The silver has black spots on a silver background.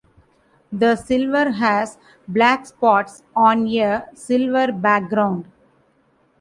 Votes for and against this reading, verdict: 0, 2, rejected